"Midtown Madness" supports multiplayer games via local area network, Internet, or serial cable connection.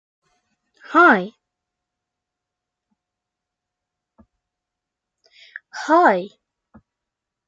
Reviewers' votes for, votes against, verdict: 1, 2, rejected